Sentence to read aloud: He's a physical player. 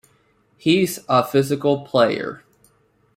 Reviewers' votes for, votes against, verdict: 2, 0, accepted